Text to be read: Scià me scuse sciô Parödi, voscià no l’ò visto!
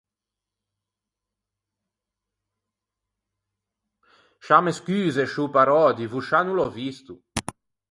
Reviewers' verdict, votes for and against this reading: rejected, 2, 4